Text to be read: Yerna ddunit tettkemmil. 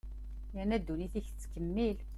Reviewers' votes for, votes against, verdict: 1, 2, rejected